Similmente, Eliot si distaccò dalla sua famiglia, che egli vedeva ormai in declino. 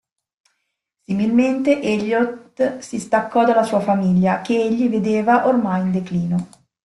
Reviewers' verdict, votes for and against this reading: rejected, 1, 2